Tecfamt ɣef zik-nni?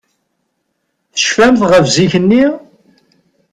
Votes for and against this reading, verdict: 4, 0, accepted